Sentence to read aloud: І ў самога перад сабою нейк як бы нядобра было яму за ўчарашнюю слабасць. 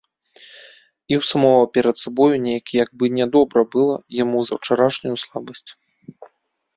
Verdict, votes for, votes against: rejected, 0, 2